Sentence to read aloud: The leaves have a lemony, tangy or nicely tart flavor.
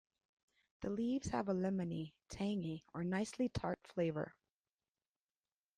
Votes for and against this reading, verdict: 2, 0, accepted